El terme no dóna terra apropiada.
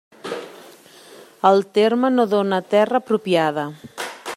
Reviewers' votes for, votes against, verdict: 3, 0, accepted